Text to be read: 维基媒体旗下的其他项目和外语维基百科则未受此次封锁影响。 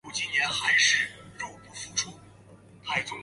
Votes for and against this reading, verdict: 0, 2, rejected